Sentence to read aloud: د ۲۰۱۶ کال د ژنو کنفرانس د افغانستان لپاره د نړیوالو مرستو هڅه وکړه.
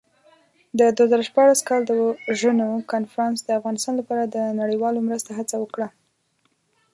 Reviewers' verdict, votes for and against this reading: rejected, 0, 2